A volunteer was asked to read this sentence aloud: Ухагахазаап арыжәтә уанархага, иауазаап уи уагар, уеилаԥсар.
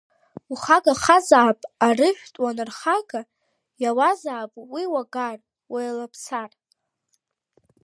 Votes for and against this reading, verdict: 2, 0, accepted